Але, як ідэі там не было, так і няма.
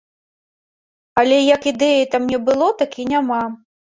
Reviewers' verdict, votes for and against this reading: accepted, 2, 0